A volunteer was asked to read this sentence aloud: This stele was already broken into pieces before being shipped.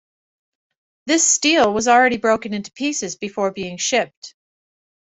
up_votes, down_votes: 2, 0